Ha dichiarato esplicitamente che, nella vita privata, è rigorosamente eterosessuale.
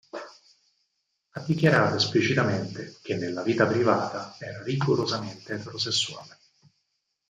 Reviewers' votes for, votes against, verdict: 2, 4, rejected